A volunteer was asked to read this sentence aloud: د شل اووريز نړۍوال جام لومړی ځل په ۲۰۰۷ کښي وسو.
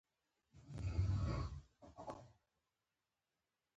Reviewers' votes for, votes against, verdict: 0, 2, rejected